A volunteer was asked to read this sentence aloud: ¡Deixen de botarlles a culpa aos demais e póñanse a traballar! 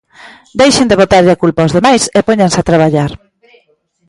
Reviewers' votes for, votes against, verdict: 2, 0, accepted